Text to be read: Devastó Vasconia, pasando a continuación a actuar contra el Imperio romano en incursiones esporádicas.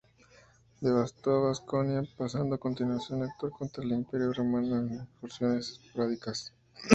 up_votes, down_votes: 0, 2